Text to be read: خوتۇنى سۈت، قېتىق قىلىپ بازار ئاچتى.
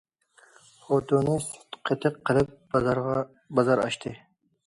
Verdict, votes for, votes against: rejected, 0, 2